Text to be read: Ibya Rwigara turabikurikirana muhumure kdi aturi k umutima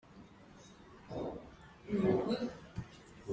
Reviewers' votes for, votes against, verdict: 0, 2, rejected